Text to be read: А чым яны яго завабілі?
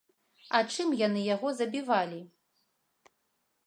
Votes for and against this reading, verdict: 1, 2, rejected